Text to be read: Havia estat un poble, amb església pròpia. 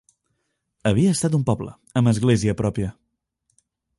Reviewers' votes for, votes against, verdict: 2, 0, accepted